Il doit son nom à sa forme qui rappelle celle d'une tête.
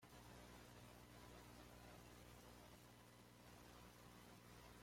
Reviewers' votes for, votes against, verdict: 0, 2, rejected